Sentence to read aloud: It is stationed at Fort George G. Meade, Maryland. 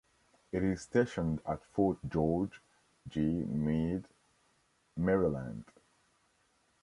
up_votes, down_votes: 2, 0